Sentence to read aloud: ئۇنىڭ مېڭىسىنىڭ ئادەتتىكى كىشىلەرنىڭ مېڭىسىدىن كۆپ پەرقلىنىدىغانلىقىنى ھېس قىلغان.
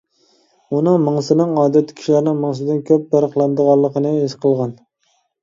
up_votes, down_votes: 2, 1